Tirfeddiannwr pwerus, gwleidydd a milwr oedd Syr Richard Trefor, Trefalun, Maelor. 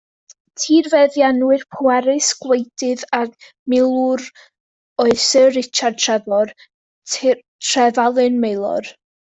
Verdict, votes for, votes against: rejected, 1, 2